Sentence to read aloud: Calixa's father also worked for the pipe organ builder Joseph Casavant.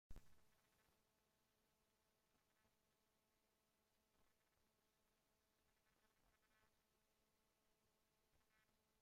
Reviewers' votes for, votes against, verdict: 0, 2, rejected